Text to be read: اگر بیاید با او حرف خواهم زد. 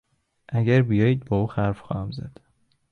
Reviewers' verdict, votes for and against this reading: rejected, 1, 2